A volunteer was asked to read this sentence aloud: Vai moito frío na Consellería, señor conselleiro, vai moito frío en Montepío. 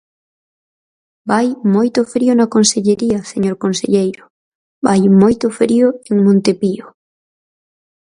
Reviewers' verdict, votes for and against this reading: accepted, 4, 0